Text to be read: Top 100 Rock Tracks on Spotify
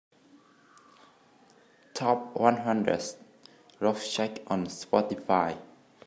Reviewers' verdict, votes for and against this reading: rejected, 0, 2